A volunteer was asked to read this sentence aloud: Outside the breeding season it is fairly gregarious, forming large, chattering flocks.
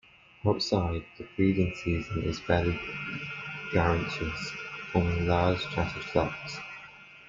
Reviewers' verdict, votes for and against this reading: rejected, 0, 2